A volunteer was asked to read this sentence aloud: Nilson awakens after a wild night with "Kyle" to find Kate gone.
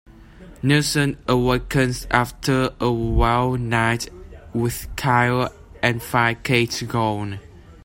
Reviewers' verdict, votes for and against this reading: rejected, 1, 2